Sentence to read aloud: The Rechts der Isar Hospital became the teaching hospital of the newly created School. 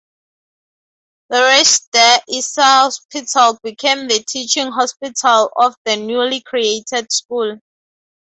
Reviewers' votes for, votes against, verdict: 4, 2, accepted